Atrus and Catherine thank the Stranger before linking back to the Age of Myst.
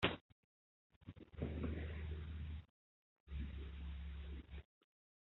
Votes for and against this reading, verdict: 0, 2, rejected